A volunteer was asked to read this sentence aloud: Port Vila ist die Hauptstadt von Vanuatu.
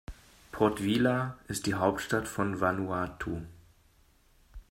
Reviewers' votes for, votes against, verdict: 2, 0, accepted